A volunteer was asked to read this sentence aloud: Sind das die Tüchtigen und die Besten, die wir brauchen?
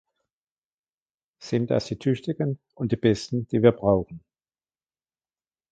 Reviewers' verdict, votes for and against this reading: accepted, 2, 0